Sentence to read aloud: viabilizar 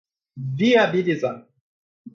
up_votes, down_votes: 2, 0